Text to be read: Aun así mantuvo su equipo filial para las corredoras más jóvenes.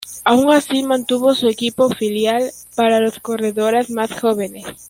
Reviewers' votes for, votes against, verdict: 1, 2, rejected